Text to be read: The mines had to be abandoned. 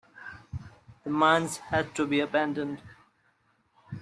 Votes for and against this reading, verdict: 1, 2, rejected